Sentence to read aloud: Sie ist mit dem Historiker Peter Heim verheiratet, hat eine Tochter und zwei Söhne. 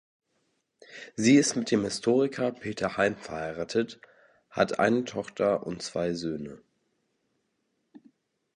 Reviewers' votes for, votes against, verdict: 2, 0, accepted